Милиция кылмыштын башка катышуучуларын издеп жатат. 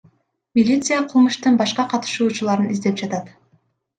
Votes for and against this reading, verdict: 1, 2, rejected